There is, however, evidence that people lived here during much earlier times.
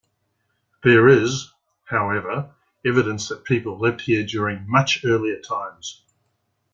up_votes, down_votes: 2, 0